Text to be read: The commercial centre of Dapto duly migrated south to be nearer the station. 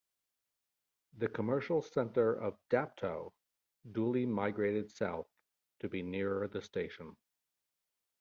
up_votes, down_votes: 2, 0